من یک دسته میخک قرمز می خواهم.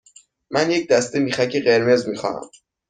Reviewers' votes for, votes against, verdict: 2, 0, accepted